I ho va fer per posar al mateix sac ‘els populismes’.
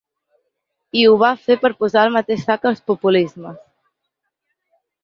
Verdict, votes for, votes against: accepted, 2, 0